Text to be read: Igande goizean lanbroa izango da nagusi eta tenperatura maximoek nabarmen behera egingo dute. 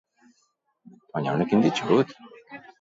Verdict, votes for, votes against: rejected, 0, 2